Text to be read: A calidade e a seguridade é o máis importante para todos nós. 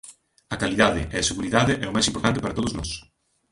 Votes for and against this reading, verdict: 0, 2, rejected